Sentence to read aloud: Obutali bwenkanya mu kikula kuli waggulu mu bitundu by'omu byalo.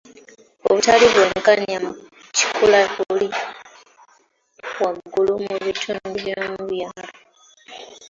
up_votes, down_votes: 2, 1